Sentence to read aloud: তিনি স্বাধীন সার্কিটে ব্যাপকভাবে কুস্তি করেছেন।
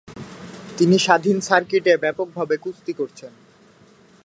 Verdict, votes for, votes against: rejected, 1, 2